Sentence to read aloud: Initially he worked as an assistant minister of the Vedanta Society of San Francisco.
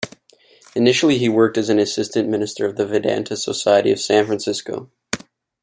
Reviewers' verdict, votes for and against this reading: accepted, 2, 0